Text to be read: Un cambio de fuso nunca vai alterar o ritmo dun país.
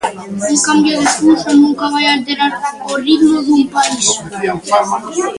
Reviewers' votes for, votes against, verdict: 0, 2, rejected